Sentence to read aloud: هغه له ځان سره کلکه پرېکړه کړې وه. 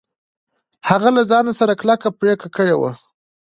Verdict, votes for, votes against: accepted, 2, 0